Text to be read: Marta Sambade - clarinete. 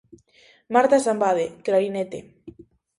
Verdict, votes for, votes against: accepted, 2, 0